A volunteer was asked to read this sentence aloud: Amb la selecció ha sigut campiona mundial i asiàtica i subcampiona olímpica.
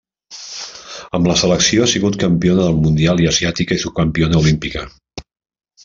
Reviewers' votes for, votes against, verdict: 1, 2, rejected